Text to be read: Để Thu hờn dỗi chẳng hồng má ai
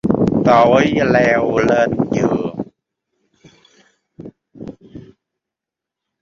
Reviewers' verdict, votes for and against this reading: rejected, 0, 2